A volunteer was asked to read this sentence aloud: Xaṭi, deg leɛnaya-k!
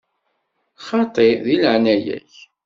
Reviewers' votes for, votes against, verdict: 2, 0, accepted